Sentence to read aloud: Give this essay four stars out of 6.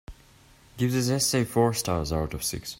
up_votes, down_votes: 0, 2